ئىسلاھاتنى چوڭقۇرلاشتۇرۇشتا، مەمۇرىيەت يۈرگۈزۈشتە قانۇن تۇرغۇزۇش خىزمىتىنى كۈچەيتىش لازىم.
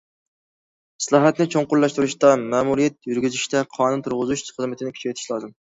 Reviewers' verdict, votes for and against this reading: accepted, 2, 0